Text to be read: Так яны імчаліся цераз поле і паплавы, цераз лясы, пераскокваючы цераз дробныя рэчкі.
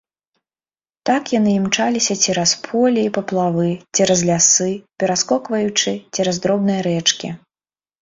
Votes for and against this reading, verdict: 2, 0, accepted